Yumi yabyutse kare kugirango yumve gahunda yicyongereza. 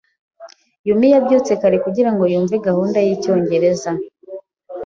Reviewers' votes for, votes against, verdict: 3, 0, accepted